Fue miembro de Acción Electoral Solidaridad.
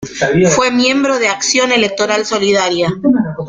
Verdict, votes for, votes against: rejected, 1, 2